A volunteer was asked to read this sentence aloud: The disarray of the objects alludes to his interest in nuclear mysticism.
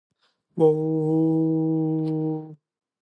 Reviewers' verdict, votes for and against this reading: rejected, 0, 2